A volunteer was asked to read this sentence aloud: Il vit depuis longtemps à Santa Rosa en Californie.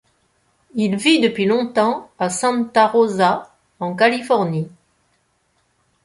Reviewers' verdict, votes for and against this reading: accepted, 2, 0